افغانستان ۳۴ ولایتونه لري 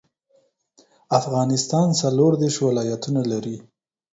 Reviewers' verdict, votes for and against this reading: rejected, 0, 2